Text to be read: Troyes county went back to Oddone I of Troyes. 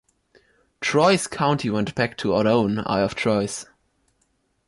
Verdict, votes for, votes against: rejected, 1, 2